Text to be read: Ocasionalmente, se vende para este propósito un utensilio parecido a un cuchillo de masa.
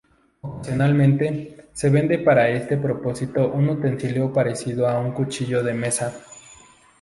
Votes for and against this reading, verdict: 0, 2, rejected